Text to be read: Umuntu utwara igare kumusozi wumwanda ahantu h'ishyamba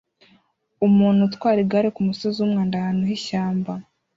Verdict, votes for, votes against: accepted, 2, 0